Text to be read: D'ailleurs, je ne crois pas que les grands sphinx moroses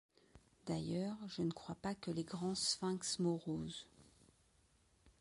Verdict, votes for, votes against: accepted, 2, 0